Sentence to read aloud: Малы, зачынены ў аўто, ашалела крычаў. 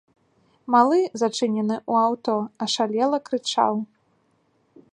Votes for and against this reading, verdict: 1, 2, rejected